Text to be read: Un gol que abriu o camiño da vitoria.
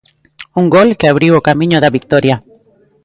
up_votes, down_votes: 2, 0